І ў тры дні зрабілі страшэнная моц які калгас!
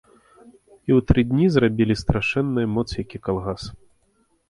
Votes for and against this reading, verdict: 1, 2, rejected